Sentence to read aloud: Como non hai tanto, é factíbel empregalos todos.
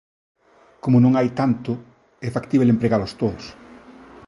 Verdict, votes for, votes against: accepted, 2, 0